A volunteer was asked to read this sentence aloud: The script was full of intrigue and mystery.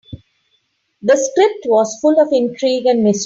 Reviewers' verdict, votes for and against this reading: rejected, 0, 2